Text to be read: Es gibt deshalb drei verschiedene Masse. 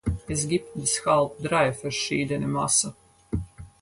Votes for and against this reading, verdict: 2, 4, rejected